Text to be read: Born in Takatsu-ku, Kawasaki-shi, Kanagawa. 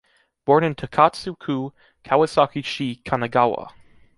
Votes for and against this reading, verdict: 2, 0, accepted